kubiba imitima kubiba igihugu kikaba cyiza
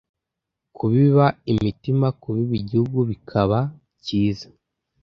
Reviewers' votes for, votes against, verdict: 1, 2, rejected